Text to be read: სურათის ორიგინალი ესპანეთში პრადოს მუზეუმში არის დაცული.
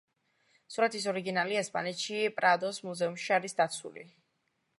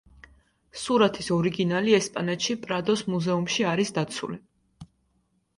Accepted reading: second